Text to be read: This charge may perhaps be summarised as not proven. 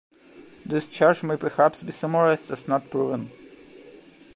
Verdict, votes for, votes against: accepted, 2, 0